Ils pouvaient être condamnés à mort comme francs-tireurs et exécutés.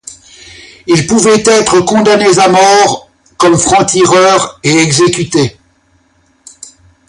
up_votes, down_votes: 0, 2